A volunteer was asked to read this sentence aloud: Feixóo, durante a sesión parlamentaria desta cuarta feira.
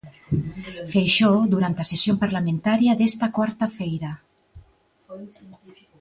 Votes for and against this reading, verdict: 2, 0, accepted